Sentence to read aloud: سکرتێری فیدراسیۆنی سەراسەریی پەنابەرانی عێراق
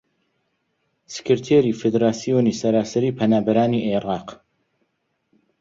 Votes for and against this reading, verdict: 1, 2, rejected